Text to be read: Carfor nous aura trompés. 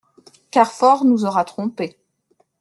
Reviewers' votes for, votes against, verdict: 2, 0, accepted